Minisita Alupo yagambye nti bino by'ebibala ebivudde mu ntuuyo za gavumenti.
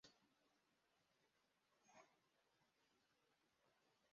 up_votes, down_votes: 0, 2